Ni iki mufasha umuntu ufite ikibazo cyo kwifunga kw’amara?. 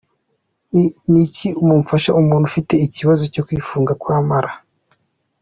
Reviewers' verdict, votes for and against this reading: accepted, 2, 0